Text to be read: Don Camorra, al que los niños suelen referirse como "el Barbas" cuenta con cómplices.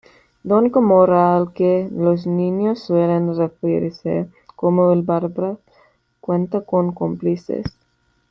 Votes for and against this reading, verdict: 1, 2, rejected